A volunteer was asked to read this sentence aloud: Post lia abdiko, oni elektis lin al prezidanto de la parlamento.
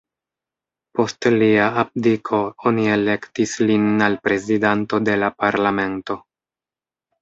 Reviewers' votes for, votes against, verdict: 0, 2, rejected